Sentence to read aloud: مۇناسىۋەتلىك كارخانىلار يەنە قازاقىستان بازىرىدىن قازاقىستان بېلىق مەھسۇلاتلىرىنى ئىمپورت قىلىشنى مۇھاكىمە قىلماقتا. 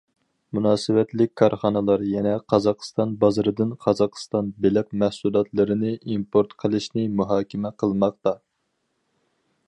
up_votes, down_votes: 4, 0